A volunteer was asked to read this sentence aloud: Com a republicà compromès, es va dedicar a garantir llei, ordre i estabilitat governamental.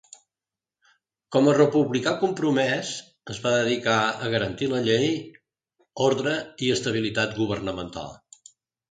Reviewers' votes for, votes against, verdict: 1, 2, rejected